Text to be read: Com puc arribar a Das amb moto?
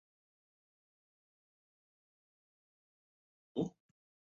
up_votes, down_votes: 0, 2